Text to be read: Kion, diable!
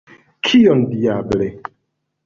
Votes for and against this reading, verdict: 1, 2, rejected